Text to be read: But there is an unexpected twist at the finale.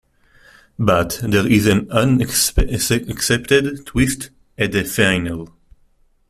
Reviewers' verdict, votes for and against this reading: rejected, 1, 2